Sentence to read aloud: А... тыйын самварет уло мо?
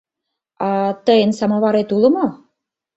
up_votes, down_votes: 1, 2